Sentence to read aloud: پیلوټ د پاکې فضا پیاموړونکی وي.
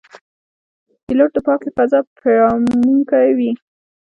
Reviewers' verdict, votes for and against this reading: rejected, 1, 2